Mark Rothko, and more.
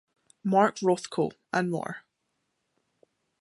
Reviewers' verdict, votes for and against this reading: accepted, 2, 0